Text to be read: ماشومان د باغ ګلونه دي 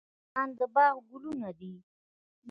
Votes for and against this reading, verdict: 1, 2, rejected